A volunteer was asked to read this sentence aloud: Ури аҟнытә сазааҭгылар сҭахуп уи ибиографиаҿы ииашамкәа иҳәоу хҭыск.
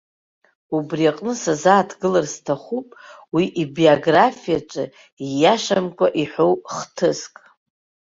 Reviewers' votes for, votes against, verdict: 3, 0, accepted